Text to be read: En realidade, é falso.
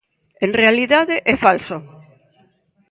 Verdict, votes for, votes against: rejected, 1, 2